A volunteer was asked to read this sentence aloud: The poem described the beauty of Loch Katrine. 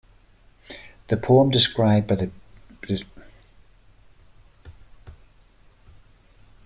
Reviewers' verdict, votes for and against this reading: rejected, 1, 2